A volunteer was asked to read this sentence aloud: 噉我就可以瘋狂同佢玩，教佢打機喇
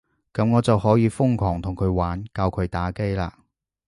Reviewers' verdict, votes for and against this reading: accepted, 2, 0